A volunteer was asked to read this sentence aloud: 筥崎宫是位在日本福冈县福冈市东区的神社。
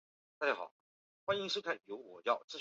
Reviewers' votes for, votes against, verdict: 0, 3, rejected